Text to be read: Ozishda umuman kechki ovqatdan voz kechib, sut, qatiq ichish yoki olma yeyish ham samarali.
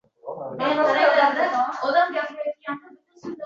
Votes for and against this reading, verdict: 0, 2, rejected